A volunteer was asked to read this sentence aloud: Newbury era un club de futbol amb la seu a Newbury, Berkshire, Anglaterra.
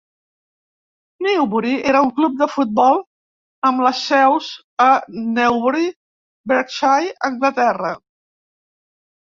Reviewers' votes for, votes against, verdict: 1, 2, rejected